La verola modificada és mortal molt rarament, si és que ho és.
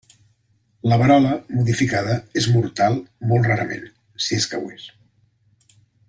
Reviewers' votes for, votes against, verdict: 3, 0, accepted